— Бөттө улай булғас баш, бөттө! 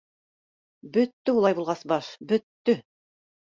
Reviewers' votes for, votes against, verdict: 2, 0, accepted